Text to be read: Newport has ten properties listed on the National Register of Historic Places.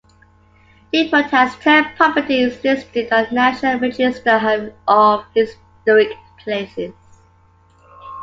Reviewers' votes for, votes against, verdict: 2, 1, accepted